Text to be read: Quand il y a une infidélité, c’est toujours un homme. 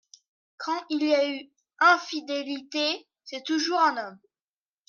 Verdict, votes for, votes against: rejected, 0, 3